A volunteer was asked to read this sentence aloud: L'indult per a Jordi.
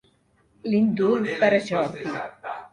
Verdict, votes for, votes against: accepted, 2, 1